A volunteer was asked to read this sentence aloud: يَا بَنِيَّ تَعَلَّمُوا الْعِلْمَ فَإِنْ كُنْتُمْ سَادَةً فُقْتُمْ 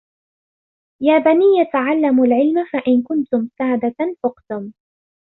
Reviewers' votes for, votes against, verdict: 2, 0, accepted